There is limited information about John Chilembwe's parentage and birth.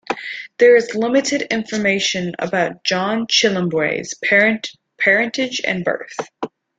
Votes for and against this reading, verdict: 2, 1, accepted